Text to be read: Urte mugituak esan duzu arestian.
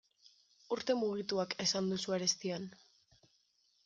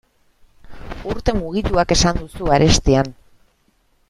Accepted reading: first